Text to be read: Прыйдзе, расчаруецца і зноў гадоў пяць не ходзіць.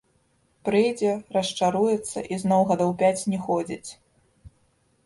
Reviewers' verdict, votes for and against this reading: rejected, 1, 2